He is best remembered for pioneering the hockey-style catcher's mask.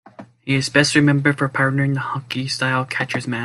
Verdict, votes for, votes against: rejected, 1, 2